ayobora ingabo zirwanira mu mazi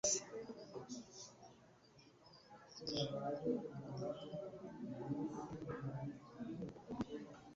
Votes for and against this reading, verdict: 1, 2, rejected